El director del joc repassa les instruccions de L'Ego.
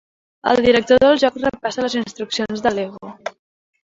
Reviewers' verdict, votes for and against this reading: rejected, 1, 2